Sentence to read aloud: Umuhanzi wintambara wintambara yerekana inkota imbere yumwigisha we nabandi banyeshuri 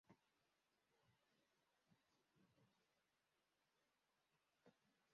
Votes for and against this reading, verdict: 0, 2, rejected